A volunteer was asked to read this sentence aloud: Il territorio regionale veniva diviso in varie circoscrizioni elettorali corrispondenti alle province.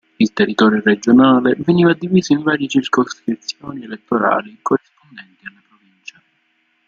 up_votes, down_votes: 2, 0